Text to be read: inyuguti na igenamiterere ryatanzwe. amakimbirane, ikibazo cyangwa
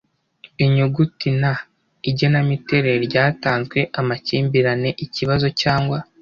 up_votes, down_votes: 2, 0